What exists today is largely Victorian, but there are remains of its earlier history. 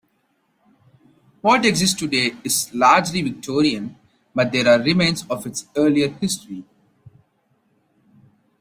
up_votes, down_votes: 2, 0